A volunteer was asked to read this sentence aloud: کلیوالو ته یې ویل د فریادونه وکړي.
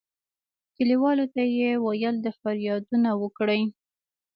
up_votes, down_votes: 2, 0